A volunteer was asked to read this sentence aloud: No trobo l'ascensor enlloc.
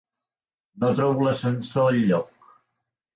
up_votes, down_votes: 3, 0